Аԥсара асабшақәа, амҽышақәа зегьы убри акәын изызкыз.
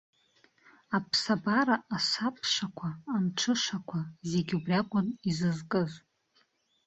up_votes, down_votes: 0, 2